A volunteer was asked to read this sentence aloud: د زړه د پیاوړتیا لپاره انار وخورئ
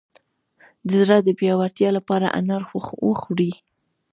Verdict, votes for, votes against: rejected, 1, 2